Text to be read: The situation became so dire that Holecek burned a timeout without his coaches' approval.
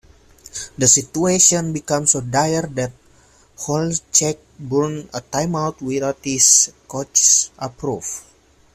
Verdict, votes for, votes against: rejected, 0, 2